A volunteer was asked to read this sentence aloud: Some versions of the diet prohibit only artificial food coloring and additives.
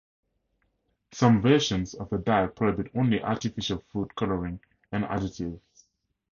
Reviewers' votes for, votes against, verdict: 2, 2, rejected